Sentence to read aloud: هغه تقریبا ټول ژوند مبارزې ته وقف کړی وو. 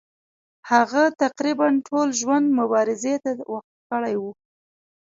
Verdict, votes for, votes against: accepted, 2, 0